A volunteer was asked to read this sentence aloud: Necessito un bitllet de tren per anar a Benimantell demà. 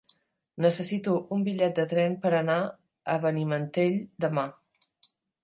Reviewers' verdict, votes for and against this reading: accepted, 3, 0